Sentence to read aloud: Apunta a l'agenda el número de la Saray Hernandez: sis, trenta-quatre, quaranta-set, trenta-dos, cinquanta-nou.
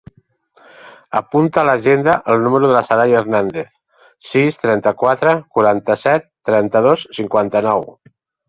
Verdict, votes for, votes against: accepted, 3, 0